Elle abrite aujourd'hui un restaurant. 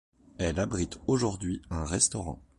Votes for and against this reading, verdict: 2, 0, accepted